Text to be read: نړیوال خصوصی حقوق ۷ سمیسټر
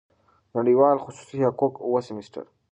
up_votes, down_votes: 0, 2